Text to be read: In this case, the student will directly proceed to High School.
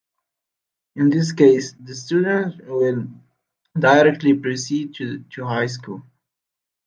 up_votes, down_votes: 2, 1